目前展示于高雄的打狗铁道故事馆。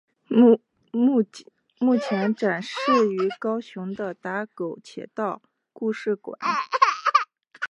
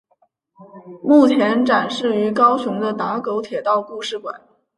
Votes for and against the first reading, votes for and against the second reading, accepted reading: 1, 2, 3, 0, second